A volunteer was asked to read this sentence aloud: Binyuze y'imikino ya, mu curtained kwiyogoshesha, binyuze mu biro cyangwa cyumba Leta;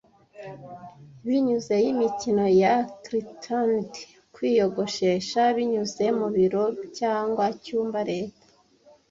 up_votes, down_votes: 1, 2